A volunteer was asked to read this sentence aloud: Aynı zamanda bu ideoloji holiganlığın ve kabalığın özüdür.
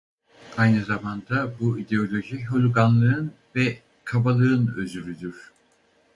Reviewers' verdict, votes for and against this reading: rejected, 2, 2